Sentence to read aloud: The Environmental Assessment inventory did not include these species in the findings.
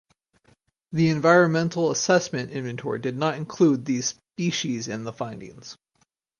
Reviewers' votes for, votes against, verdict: 4, 0, accepted